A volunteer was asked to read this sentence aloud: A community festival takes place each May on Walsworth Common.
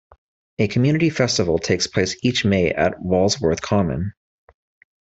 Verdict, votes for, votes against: rejected, 0, 2